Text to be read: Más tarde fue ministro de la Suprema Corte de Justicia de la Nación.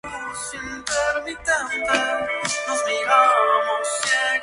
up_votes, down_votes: 0, 2